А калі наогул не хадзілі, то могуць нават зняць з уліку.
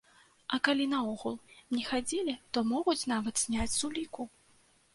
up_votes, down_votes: 2, 0